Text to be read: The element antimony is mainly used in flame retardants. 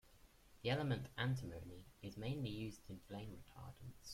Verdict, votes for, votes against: rejected, 1, 2